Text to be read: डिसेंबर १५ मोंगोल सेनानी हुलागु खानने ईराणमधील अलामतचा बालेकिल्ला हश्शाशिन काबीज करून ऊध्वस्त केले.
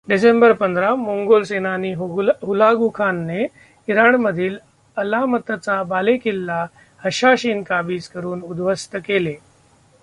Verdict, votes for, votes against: rejected, 0, 2